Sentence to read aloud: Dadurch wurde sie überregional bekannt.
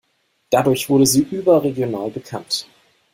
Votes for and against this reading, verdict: 2, 0, accepted